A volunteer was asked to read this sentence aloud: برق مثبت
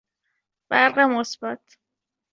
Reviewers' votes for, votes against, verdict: 2, 0, accepted